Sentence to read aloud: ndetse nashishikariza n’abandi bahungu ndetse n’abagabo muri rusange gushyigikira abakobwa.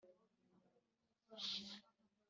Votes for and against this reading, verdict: 1, 3, rejected